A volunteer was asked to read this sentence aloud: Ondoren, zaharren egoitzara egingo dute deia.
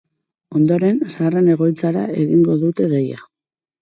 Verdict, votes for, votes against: accepted, 6, 0